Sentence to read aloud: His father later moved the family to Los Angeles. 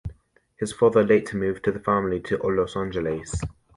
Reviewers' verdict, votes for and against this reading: rejected, 1, 2